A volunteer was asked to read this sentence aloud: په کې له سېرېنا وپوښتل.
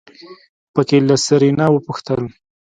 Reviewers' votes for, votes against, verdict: 2, 0, accepted